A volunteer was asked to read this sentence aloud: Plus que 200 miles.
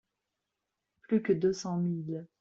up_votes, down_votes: 0, 2